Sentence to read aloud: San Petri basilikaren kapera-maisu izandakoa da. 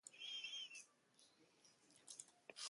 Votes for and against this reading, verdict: 0, 2, rejected